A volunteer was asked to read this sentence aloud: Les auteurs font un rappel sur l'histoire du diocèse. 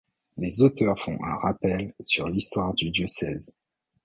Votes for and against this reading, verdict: 2, 0, accepted